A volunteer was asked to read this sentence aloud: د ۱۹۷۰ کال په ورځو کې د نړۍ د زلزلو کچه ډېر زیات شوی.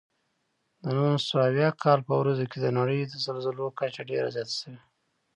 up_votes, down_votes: 0, 2